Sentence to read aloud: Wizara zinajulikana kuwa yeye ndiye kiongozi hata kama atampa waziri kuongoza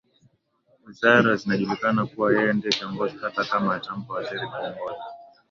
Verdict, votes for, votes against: rejected, 1, 2